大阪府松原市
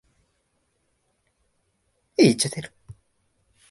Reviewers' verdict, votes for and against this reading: rejected, 0, 2